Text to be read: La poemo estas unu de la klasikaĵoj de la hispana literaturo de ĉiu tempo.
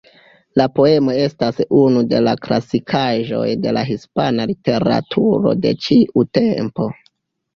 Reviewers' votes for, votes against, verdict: 0, 2, rejected